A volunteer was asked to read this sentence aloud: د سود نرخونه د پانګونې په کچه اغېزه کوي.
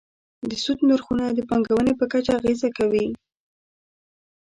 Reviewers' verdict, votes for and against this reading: rejected, 1, 2